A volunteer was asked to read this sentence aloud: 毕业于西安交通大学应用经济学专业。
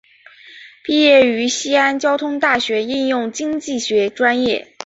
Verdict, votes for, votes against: accepted, 3, 0